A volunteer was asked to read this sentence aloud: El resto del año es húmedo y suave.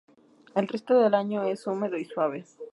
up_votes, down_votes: 2, 0